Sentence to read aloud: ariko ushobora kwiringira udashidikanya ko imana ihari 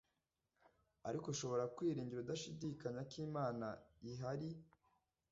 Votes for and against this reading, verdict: 2, 0, accepted